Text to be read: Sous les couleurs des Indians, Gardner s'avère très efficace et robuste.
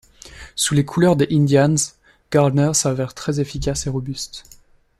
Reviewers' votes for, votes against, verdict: 2, 0, accepted